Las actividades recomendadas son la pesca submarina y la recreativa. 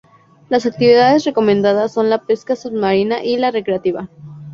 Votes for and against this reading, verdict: 2, 0, accepted